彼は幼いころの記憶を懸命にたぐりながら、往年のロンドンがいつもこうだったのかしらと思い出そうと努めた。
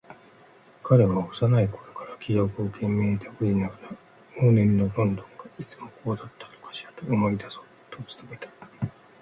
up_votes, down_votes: 2, 1